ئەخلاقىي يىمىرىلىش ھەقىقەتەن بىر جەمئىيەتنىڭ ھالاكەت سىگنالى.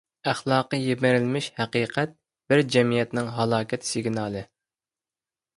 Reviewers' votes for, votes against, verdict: 0, 2, rejected